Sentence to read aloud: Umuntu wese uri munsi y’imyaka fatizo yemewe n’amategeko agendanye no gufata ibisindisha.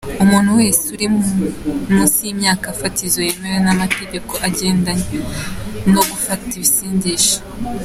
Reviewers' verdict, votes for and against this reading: accepted, 2, 0